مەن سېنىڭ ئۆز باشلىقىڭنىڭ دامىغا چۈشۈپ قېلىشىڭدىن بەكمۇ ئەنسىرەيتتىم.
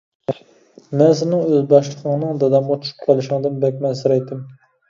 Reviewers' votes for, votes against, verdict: 0, 2, rejected